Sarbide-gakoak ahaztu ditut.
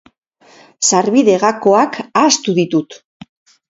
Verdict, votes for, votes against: rejected, 0, 2